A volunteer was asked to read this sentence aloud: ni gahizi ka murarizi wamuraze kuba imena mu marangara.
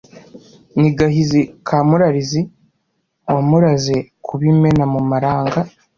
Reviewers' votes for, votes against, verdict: 0, 2, rejected